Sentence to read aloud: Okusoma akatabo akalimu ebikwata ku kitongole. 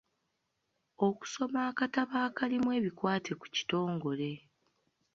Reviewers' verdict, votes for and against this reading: rejected, 1, 2